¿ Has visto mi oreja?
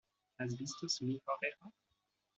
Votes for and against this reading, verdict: 0, 2, rejected